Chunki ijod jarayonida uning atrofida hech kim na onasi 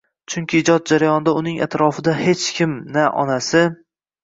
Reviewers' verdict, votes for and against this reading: accepted, 2, 0